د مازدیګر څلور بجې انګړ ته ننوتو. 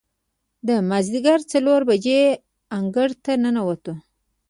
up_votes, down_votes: 1, 2